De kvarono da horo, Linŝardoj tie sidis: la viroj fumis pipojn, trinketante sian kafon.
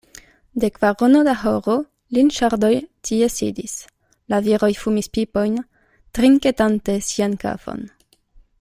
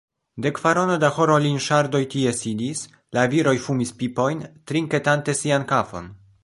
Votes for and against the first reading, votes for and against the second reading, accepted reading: 2, 0, 1, 2, first